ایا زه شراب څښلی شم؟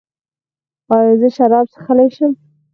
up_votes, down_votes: 6, 0